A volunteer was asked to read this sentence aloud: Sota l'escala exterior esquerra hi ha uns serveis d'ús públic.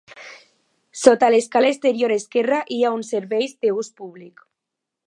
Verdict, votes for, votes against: accepted, 2, 0